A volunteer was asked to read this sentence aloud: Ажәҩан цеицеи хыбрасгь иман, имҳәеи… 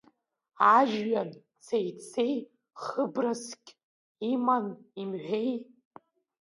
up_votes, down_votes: 0, 2